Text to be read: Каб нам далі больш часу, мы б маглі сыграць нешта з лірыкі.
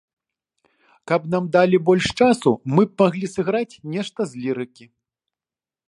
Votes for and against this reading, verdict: 2, 0, accepted